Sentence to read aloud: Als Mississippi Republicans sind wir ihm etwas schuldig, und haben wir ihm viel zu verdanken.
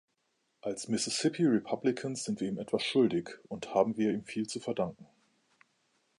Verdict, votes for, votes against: accepted, 2, 0